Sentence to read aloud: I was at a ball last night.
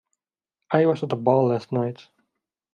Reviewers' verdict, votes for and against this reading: accepted, 2, 0